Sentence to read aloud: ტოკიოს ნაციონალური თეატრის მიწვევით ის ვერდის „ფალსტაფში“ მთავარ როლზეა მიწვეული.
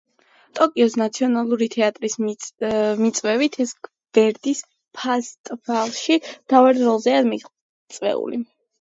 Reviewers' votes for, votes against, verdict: 0, 2, rejected